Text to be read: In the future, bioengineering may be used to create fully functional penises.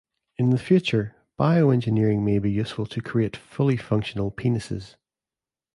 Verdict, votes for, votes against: rejected, 0, 2